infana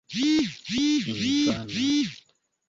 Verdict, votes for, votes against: rejected, 0, 2